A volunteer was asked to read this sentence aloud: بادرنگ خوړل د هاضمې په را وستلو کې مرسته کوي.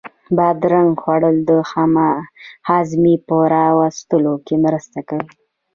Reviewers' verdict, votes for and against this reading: rejected, 0, 2